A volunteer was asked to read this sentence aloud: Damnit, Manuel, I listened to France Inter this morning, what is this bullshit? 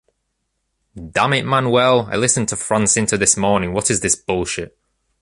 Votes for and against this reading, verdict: 2, 0, accepted